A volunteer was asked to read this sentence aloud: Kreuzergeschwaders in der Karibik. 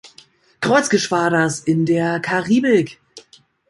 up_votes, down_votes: 2, 1